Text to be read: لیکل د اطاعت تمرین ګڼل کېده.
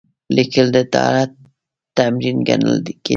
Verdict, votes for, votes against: accepted, 2, 0